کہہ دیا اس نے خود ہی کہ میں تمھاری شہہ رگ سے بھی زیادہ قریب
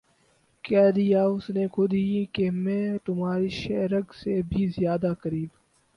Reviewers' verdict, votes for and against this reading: accepted, 8, 0